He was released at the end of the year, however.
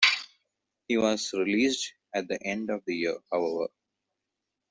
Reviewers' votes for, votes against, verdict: 2, 0, accepted